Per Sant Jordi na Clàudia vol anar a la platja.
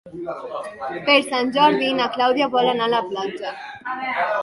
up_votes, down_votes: 1, 2